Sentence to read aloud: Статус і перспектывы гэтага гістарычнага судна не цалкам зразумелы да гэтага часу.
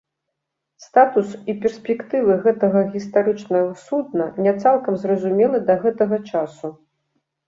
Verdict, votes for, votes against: accepted, 2, 0